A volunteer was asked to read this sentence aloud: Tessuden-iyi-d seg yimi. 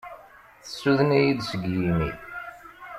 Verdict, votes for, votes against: accepted, 2, 0